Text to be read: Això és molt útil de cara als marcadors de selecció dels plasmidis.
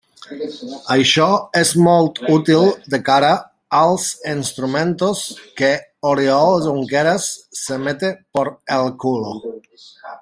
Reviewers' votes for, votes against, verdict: 0, 2, rejected